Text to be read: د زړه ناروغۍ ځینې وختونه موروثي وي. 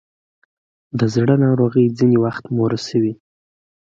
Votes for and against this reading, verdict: 2, 1, accepted